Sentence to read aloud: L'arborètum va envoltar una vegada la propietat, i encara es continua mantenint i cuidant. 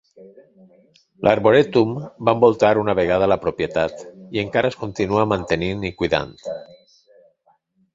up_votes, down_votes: 2, 0